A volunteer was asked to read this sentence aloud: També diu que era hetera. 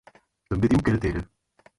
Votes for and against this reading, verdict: 0, 4, rejected